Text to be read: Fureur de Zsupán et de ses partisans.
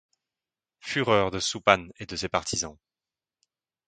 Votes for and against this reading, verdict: 2, 0, accepted